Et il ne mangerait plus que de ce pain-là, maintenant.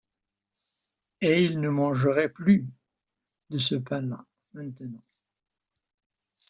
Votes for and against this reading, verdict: 0, 2, rejected